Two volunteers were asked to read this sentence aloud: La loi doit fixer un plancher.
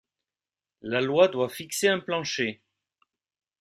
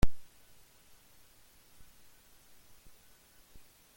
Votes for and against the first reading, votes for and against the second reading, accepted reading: 2, 0, 0, 2, first